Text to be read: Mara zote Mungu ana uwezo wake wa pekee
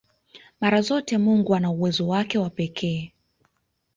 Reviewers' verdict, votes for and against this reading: accepted, 2, 1